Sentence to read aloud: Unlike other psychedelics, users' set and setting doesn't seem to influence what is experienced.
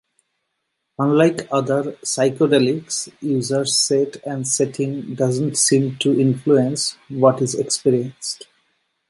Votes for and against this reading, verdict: 2, 0, accepted